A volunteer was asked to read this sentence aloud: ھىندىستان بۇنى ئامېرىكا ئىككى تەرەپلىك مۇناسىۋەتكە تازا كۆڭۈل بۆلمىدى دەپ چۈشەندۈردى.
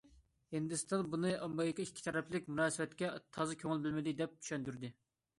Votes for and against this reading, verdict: 2, 0, accepted